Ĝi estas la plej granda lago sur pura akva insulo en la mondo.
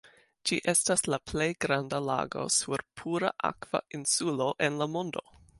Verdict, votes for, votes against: accepted, 2, 0